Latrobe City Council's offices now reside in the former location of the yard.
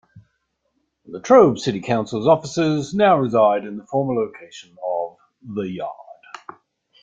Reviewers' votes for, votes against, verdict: 1, 2, rejected